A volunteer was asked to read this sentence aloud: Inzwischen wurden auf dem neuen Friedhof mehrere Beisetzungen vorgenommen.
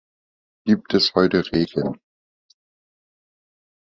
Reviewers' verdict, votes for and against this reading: rejected, 0, 2